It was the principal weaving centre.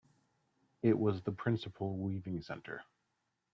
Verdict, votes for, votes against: accepted, 2, 0